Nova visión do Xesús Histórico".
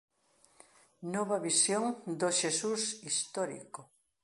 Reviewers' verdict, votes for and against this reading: accepted, 2, 0